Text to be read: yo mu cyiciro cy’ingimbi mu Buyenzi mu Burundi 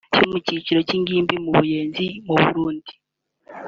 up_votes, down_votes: 2, 0